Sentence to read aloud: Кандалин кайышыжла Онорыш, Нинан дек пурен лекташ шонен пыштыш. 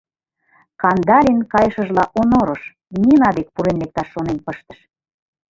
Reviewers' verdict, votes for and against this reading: rejected, 1, 2